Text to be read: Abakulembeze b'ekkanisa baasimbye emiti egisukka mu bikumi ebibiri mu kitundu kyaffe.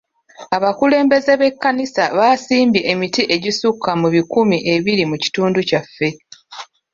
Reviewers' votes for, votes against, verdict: 0, 2, rejected